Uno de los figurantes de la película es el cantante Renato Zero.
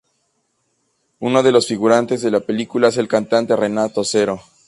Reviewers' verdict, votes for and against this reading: accepted, 2, 0